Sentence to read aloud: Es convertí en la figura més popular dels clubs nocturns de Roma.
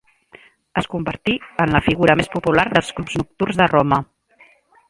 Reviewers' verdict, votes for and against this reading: accepted, 2, 1